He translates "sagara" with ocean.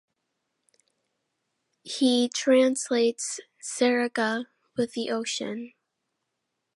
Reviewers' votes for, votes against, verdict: 1, 2, rejected